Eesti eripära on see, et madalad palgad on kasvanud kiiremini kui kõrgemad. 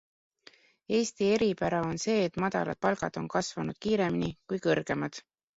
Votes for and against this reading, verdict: 2, 0, accepted